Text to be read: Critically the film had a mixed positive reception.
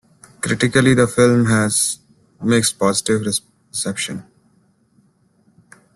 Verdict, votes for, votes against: rejected, 0, 2